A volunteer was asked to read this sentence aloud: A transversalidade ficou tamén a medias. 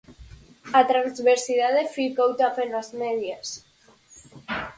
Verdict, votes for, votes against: rejected, 0, 4